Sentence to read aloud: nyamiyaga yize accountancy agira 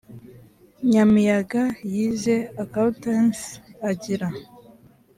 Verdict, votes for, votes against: accepted, 3, 0